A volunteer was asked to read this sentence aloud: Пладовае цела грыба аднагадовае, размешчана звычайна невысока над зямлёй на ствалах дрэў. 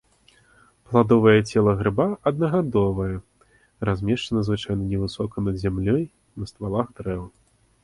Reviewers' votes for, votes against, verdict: 2, 0, accepted